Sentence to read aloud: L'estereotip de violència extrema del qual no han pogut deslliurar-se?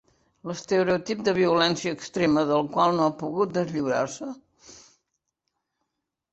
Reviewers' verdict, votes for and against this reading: rejected, 0, 2